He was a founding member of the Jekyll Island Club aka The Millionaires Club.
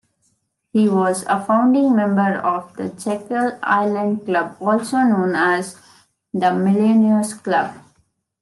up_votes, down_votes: 2, 3